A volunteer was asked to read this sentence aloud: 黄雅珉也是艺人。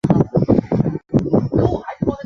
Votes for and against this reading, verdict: 0, 3, rejected